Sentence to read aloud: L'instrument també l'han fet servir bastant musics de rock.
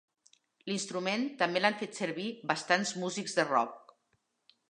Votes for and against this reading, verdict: 1, 3, rejected